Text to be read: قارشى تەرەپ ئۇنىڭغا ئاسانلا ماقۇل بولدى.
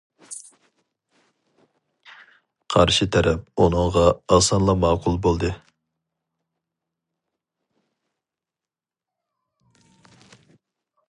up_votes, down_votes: 4, 0